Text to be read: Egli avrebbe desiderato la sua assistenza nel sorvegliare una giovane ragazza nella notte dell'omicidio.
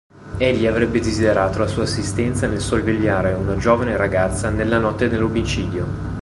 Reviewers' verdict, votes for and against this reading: accepted, 2, 0